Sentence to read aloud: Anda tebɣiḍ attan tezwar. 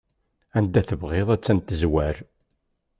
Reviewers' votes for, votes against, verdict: 2, 0, accepted